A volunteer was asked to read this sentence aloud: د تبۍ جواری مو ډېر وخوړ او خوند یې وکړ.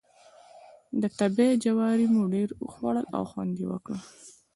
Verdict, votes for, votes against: accepted, 2, 0